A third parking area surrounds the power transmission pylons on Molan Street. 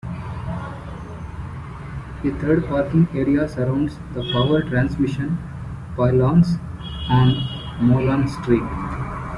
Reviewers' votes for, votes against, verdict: 1, 3, rejected